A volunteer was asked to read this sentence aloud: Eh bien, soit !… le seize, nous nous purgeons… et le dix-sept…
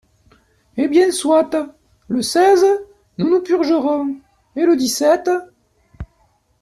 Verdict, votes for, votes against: rejected, 0, 2